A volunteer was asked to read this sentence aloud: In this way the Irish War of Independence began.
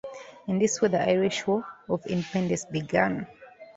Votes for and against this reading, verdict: 2, 0, accepted